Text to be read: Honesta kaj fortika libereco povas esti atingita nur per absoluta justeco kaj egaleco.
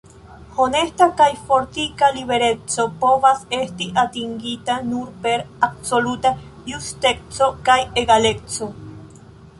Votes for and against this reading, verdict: 0, 2, rejected